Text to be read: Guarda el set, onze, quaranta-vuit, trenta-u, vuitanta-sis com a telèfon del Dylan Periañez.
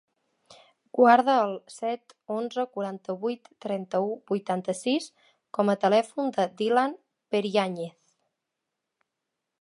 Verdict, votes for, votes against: accepted, 2, 1